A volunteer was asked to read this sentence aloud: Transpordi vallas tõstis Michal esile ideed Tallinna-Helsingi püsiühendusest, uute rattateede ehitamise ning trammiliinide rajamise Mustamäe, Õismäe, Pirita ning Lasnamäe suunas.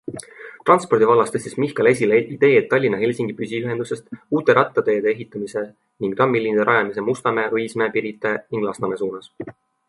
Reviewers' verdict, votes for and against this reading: accepted, 2, 0